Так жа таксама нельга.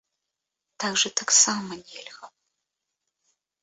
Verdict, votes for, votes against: accepted, 2, 1